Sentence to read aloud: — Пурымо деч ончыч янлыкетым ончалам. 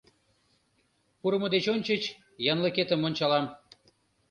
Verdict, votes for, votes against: accepted, 2, 0